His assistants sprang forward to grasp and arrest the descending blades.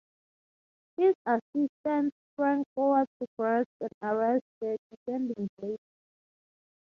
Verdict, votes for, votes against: rejected, 0, 3